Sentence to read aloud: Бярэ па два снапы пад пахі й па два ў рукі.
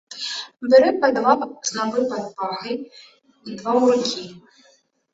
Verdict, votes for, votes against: rejected, 0, 3